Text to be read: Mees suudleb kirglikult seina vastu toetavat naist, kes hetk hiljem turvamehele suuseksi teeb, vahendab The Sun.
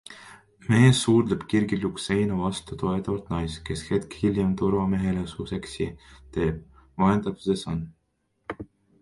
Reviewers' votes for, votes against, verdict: 1, 2, rejected